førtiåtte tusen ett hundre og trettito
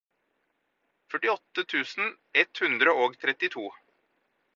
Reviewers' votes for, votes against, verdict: 4, 0, accepted